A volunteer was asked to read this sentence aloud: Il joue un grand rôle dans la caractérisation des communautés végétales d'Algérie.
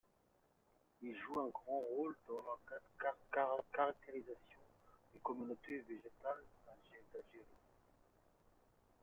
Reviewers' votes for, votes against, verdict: 2, 0, accepted